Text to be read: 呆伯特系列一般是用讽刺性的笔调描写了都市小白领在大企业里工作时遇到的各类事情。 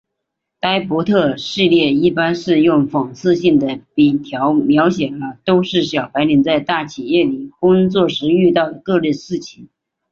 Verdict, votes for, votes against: accepted, 6, 3